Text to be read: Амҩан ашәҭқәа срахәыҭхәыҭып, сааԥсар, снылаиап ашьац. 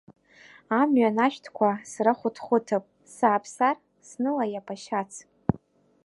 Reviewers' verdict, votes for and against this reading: accepted, 2, 0